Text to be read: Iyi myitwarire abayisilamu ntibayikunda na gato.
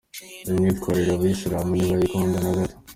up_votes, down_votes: 2, 1